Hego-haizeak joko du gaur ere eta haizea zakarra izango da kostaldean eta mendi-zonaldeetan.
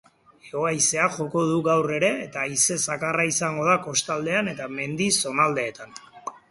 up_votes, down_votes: 2, 4